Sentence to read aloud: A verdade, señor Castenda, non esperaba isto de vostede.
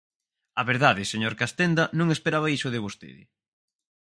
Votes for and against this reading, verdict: 0, 4, rejected